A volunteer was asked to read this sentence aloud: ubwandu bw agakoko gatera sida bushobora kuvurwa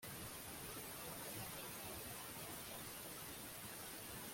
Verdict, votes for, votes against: rejected, 0, 2